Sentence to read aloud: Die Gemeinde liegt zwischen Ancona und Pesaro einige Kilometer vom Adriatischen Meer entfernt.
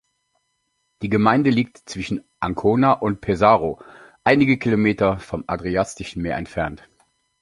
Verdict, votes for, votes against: rejected, 1, 2